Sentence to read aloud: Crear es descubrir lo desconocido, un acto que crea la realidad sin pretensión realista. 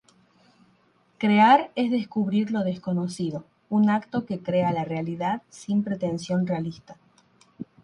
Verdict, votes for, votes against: accepted, 3, 0